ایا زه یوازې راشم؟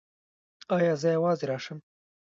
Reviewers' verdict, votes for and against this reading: rejected, 0, 2